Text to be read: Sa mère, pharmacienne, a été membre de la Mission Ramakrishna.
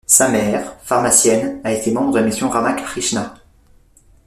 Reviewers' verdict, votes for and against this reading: accepted, 2, 1